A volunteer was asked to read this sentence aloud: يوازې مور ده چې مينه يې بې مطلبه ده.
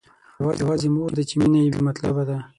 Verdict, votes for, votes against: rejected, 3, 6